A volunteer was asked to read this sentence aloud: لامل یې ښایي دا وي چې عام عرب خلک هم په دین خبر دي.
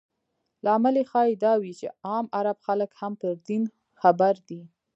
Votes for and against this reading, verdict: 0, 2, rejected